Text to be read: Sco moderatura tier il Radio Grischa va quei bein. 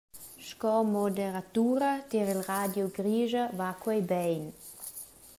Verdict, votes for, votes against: accepted, 2, 0